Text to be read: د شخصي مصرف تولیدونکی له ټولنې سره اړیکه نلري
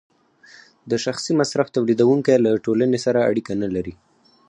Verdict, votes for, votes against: rejected, 2, 4